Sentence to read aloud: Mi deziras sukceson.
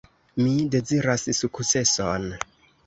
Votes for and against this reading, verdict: 2, 1, accepted